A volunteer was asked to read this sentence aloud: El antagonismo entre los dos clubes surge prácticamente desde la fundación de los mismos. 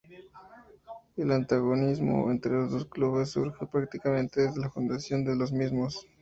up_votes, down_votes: 0, 2